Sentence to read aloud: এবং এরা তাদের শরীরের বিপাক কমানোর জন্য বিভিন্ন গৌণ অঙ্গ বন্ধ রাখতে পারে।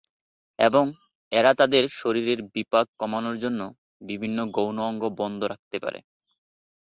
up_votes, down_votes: 2, 2